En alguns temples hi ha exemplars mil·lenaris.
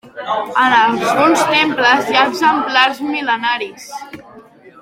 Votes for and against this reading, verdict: 2, 1, accepted